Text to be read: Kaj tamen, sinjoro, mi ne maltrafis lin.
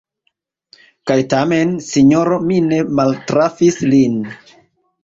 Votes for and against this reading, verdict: 2, 0, accepted